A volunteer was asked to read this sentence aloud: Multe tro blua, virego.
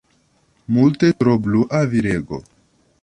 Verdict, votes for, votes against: accepted, 2, 0